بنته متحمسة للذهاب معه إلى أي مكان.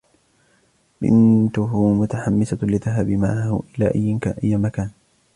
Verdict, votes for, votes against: rejected, 1, 2